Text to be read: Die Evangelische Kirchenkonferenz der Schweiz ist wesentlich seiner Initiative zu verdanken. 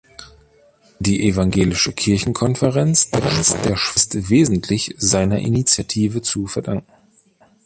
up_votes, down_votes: 0, 2